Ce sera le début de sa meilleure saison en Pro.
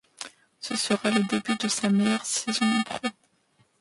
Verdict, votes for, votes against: rejected, 0, 2